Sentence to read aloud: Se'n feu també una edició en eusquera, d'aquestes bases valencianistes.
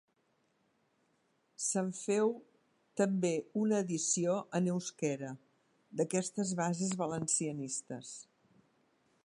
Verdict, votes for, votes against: accepted, 2, 0